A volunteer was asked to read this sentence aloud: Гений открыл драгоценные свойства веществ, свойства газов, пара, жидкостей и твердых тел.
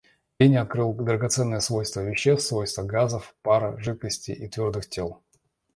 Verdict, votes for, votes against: rejected, 1, 2